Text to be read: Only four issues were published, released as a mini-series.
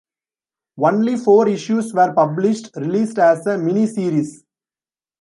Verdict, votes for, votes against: rejected, 1, 2